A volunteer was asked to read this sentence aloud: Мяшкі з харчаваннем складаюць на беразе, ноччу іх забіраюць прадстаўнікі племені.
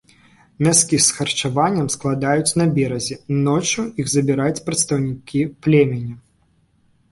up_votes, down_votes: 0, 2